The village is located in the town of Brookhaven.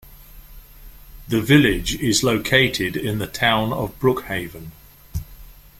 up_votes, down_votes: 2, 0